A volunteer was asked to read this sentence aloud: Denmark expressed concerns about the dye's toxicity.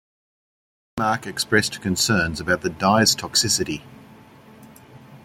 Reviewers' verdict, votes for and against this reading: rejected, 0, 2